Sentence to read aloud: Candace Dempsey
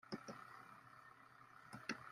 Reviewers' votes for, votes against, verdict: 0, 2, rejected